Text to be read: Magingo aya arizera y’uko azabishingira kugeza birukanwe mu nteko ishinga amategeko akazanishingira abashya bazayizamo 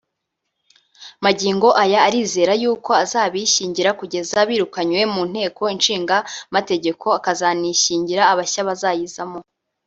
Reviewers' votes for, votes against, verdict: 1, 2, rejected